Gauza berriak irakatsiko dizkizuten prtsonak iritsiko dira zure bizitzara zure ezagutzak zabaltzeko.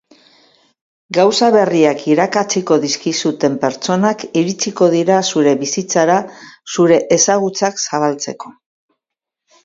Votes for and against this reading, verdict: 12, 0, accepted